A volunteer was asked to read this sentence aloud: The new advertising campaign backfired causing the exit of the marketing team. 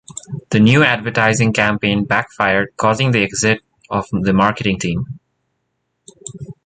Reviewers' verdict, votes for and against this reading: accepted, 2, 1